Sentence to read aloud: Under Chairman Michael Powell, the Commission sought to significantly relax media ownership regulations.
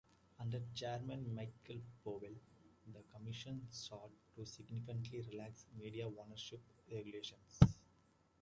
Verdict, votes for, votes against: rejected, 1, 2